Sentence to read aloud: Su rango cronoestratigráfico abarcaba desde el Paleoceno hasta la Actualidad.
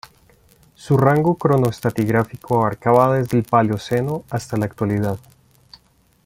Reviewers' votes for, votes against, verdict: 2, 1, accepted